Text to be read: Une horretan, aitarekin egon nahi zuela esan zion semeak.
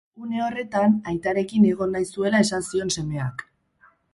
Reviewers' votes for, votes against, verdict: 4, 0, accepted